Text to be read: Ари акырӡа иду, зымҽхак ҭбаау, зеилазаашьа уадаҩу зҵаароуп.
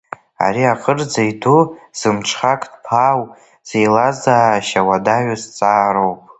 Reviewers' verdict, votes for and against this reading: accepted, 2, 1